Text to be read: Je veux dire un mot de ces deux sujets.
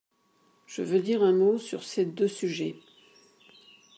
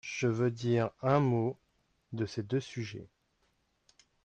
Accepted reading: second